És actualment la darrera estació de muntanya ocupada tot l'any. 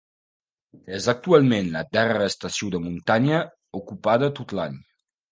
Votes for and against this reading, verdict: 1, 2, rejected